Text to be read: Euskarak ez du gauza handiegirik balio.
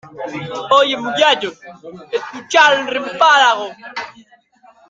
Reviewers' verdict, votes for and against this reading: rejected, 0, 2